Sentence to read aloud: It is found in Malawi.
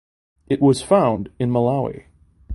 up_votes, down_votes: 0, 2